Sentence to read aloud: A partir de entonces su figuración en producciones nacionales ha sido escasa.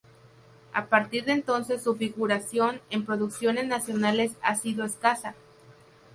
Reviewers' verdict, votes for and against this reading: accepted, 2, 0